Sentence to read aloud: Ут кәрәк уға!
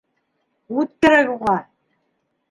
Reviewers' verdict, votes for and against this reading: rejected, 1, 2